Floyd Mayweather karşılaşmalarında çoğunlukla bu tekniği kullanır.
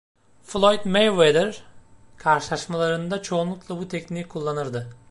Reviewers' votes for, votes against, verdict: 0, 2, rejected